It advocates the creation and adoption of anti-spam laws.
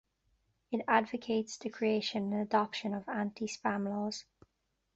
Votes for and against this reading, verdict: 2, 1, accepted